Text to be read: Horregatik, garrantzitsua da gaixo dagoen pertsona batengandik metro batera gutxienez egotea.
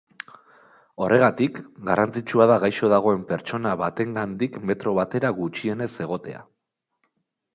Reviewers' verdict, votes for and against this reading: accepted, 2, 0